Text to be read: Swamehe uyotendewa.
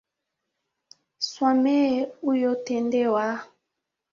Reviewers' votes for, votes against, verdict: 8, 0, accepted